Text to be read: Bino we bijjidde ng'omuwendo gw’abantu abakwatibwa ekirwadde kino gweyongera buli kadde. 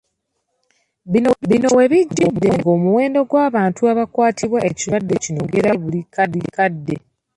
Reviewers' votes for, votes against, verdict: 1, 2, rejected